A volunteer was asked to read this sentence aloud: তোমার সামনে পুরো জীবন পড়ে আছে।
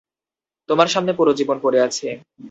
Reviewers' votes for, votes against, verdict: 0, 2, rejected